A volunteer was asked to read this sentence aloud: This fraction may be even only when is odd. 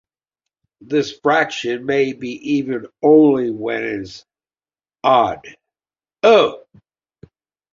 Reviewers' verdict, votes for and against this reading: rejected, 1, 2